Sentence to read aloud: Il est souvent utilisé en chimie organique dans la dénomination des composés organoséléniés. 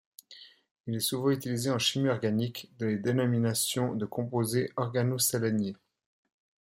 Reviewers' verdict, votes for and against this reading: accepted, 2, 1